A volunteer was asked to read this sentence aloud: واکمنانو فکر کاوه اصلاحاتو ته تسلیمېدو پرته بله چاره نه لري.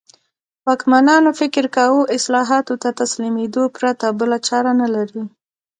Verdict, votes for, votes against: rejected, 0, 2